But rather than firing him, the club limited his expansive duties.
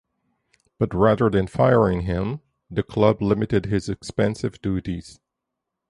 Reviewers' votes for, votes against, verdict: 4, 0, accepted